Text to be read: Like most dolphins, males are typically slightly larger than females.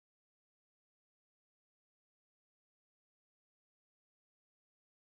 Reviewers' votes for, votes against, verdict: 0, 2, rejected